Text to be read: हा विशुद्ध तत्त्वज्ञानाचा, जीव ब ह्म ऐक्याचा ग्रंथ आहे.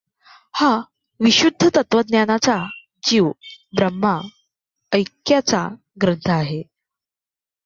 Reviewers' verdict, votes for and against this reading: rejected, 0, 2